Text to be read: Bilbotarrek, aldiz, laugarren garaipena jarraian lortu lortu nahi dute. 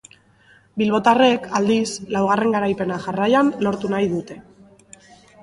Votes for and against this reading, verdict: 4, 0, accepted